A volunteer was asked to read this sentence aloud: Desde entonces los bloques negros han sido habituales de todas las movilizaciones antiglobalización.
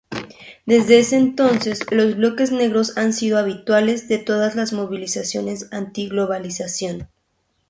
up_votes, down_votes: 0, 4